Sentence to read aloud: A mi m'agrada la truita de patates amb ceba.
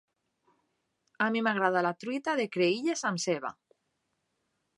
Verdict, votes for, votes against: rejected, 0, 2